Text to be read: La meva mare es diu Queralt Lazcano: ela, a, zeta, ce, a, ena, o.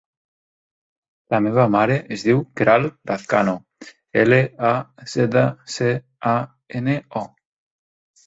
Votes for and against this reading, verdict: 1, 2, rejected